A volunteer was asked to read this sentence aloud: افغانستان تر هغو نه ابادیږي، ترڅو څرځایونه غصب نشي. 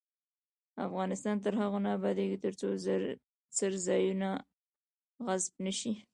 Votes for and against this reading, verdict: 0, 2, rejected